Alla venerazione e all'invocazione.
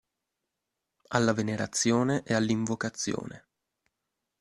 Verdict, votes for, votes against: accepted, 2, 0